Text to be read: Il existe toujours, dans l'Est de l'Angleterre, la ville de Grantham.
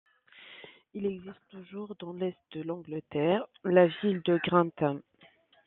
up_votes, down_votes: 1, 2